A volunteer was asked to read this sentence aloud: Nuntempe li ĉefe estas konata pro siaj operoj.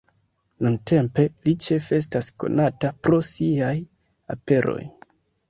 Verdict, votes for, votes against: rejected, 1, 2